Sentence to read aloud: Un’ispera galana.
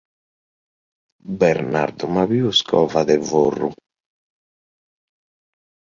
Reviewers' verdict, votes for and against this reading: rejected, 0, 2